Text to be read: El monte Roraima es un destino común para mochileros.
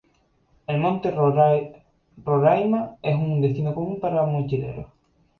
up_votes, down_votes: 2, 2